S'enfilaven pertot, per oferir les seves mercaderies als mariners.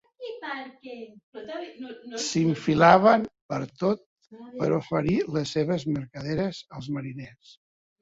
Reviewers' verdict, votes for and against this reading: rejected, 0, 2